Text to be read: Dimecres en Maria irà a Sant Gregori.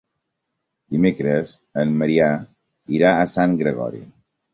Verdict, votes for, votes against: rejected, 1, 3